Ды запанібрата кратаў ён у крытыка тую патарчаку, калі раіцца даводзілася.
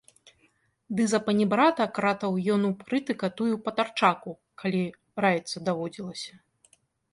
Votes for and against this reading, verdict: 2, 0, accepted